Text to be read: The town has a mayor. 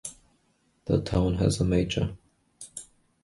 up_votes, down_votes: 0, 2